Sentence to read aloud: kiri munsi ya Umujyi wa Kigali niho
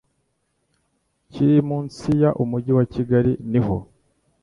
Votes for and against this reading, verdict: 2, 0, accepted